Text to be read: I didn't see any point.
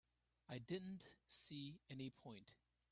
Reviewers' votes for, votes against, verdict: 1, 2, rejected